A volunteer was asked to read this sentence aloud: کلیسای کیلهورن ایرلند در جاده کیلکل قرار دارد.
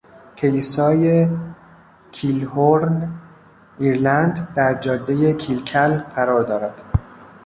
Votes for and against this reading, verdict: 1, 2, rejected